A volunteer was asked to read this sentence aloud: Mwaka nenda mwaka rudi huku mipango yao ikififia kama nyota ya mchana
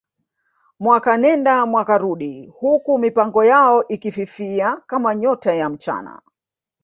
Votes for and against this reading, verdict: 1, 2, rejected